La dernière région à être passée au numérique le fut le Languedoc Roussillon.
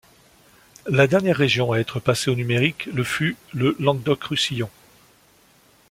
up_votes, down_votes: 2, 0